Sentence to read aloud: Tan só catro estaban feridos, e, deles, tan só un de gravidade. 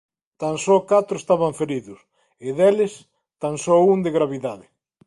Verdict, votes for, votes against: accepted, 2, 0